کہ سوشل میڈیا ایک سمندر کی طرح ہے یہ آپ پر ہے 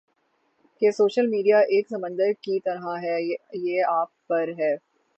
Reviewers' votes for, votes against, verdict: 3, 0, accepted